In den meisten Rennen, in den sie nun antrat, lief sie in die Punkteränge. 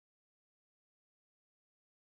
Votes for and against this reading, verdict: 0, 2, rejected